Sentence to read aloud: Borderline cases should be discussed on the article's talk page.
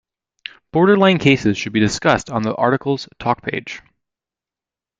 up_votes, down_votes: 2, 0